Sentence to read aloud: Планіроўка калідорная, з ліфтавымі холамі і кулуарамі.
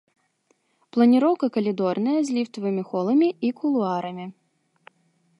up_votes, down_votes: 2, 0